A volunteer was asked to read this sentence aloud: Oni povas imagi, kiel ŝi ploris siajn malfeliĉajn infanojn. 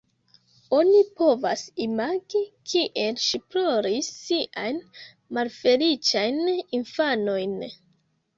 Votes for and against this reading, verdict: 1, 2, rejected